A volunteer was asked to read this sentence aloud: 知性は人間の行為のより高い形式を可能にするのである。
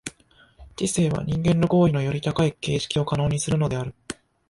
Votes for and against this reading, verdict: 1, 2, rejected